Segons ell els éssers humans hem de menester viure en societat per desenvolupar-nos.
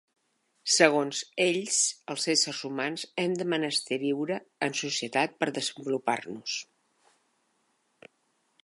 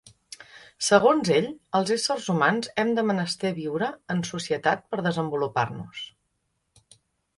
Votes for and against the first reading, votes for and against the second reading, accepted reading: 0, 2, 2, 0, second